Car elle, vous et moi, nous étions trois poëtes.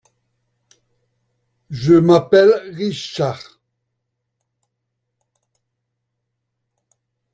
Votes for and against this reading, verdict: 0, 2, rejected